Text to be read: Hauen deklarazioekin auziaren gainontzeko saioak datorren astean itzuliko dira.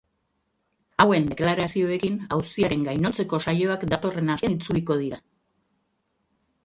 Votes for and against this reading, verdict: 1, 2, rejected